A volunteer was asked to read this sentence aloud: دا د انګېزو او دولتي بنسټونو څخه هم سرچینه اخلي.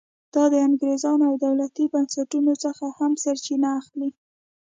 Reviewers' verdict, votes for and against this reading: accepted, 2, 0